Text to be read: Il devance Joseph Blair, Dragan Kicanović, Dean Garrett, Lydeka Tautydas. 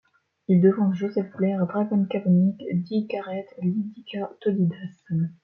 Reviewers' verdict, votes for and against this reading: rejected, 1, 2